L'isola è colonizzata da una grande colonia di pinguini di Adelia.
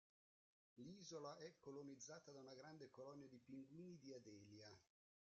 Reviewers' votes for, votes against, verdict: 0, 2, rejected